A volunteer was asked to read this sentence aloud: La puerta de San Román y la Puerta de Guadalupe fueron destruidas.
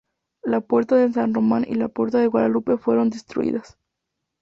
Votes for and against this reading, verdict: 4, 0, accepted